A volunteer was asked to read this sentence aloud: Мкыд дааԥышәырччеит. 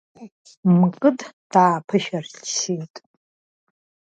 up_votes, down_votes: 0, 2